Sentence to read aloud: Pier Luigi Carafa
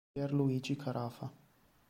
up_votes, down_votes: 2, 0